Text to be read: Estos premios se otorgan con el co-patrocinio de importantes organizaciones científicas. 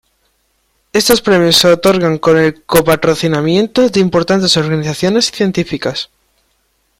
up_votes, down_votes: 0, 3